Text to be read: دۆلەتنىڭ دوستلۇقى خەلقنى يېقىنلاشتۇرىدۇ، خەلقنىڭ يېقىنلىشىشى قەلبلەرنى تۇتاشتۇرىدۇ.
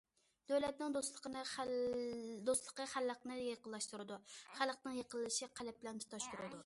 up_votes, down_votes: 0, 2